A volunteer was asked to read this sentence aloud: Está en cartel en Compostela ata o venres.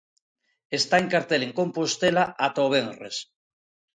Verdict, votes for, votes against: accepted, 2, 0